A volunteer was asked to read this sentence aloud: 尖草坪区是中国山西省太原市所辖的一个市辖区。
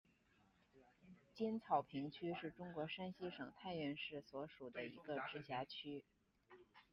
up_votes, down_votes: 1, 2